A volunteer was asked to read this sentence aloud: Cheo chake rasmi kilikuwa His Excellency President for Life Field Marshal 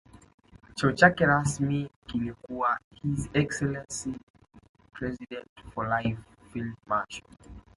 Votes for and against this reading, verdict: 3, 1, accepted